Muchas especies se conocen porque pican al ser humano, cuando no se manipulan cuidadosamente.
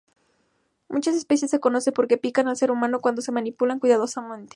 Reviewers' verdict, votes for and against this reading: rejected, 0, 2